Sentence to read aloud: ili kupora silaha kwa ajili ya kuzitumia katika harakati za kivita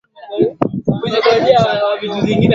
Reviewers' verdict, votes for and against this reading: rejected, 1, 14